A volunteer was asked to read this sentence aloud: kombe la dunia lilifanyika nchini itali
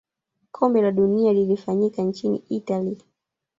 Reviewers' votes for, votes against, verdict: 1, 2, rejected